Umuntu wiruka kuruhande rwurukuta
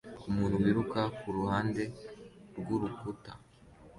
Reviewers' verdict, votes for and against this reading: accepted, 2, 0